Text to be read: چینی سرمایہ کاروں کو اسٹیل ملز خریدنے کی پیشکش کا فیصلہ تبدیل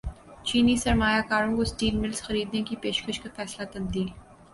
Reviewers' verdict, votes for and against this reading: accepted, 2, 0